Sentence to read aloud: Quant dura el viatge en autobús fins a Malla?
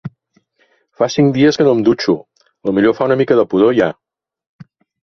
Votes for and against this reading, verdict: 0, 2, rejected